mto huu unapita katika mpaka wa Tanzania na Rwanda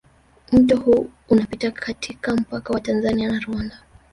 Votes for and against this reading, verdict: 1, 2, rejected